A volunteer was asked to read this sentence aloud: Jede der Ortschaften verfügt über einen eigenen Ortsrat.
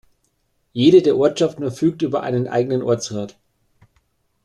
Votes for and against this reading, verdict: 2, 0, accepted